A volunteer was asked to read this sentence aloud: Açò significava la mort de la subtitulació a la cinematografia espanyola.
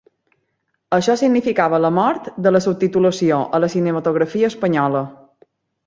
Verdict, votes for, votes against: rejected, 1, 2